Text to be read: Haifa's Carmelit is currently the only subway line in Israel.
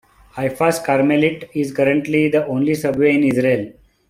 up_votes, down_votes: 0, 2